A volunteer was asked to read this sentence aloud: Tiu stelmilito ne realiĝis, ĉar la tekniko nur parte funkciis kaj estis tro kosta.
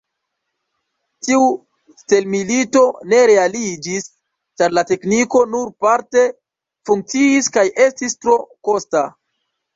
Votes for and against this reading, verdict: 2, 0, accepted